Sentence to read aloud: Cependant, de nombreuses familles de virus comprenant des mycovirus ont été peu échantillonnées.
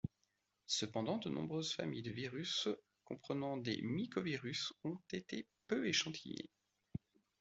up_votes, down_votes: 1, 2